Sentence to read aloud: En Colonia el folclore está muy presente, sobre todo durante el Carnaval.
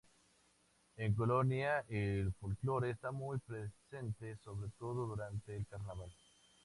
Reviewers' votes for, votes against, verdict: 2, 0, accepted